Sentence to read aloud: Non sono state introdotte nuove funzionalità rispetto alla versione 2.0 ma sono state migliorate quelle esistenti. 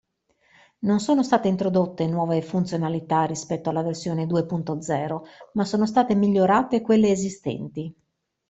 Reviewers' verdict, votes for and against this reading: rejected, 0, 2